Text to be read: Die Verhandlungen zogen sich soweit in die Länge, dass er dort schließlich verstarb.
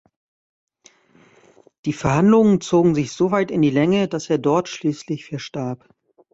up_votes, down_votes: 2, 0